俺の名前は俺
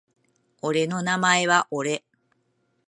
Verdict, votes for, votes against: accepted, 2, 0